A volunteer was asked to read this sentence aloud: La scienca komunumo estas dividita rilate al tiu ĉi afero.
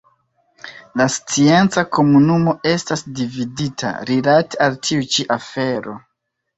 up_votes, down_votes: 1, 2